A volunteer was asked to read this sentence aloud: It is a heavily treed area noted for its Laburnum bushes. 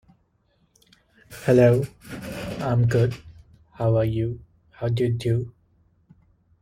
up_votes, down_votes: 0, 2